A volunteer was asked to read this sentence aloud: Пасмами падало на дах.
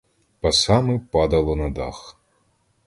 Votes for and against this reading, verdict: 0, 2, rejected